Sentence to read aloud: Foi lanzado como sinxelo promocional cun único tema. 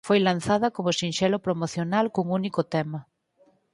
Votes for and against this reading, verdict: 0, 4, rejected